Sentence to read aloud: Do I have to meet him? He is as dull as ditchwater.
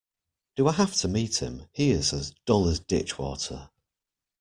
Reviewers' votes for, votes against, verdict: 2, 0, accepted